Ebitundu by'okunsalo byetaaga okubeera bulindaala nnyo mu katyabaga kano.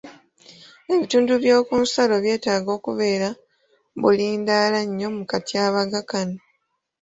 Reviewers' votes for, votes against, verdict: 2, 0, accepted